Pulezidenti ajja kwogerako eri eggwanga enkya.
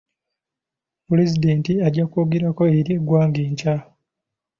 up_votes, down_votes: 2, 1